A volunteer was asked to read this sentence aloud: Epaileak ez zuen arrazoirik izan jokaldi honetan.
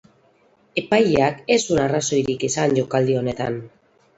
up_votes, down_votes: 4, 6